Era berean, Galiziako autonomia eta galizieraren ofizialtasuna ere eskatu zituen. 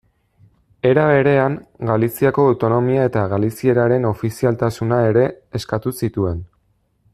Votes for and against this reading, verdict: 2, 0, accepted